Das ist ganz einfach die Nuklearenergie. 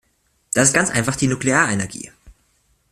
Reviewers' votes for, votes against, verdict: 2, 0, accepted